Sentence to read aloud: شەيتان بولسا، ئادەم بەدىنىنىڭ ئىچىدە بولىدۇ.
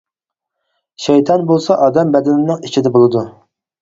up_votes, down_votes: 6, 0